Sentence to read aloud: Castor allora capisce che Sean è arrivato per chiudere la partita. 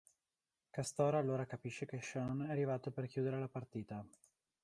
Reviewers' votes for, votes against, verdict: 0, 2, rejected